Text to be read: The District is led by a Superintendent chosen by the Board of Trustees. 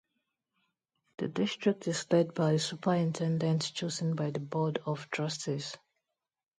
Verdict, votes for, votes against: rejected, 0, 2